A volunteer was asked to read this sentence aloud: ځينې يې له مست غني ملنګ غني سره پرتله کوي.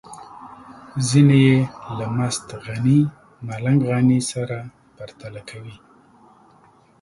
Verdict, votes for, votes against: accepted, 2, 0